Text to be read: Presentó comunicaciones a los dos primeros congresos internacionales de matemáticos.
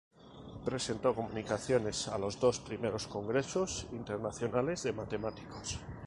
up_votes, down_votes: 4, 0